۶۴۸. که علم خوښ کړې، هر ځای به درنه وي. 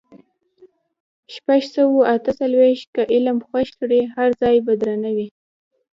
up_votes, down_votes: 0, 2